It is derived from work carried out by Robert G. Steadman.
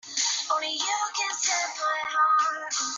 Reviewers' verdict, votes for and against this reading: rejected, 0, 2